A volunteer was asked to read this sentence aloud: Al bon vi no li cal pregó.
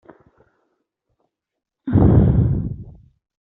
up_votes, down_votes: 0, 2